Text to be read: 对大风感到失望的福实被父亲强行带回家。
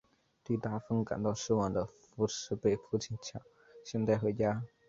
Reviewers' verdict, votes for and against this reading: accepted, 4, 1